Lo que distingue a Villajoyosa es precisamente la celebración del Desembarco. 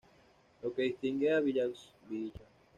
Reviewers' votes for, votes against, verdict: 1, 2, rejected